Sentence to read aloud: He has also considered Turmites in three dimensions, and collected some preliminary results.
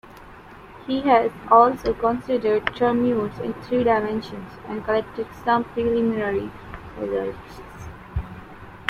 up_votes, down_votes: 0, 2